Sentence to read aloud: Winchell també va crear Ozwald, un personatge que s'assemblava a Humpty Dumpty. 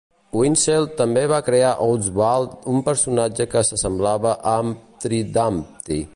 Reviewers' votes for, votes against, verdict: 0, 2, rejected